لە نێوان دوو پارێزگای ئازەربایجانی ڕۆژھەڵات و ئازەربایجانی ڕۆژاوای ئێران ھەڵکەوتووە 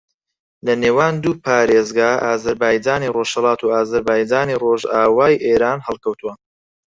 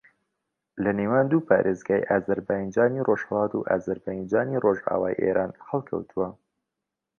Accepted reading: second